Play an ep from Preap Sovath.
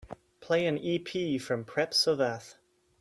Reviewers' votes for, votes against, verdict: 2, 1, accepted